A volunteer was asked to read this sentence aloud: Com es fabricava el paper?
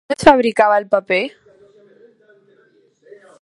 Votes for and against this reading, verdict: 1, 2, rejected